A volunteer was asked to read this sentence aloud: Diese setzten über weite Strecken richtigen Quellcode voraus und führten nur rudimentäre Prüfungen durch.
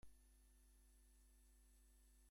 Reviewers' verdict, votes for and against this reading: rejected, 0, 2